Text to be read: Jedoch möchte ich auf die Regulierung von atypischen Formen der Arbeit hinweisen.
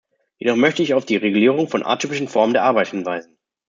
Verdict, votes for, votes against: rejected, 1, 2